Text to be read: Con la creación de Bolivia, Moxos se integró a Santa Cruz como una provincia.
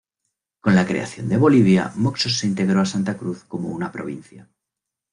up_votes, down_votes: 2, 0